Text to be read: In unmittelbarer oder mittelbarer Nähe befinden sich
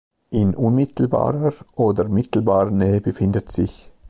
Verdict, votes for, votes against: rejected, 0, 2